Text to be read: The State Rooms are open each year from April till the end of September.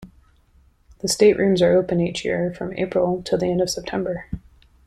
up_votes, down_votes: 2, 0